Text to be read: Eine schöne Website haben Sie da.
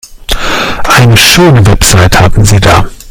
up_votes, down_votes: 0, 2